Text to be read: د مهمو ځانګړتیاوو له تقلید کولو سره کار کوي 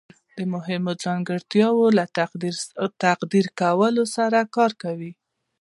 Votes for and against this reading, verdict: 1, 2, rejected